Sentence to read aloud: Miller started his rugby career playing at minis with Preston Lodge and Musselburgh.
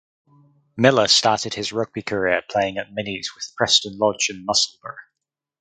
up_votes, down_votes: 2, 2